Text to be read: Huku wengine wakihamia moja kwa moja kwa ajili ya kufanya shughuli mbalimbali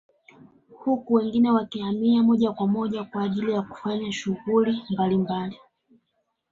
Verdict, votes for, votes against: accepted, 2, 1